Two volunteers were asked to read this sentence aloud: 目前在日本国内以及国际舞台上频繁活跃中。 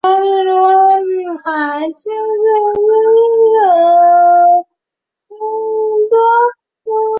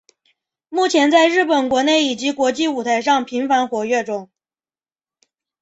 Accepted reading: second